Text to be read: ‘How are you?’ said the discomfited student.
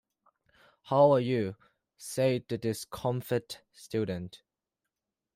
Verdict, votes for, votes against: rejected, 1, 2